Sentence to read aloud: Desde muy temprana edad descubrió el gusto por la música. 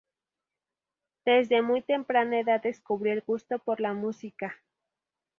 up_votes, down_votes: 2, 0